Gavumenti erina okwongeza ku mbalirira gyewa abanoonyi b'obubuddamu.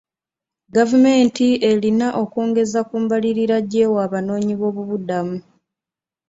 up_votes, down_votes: 2, 0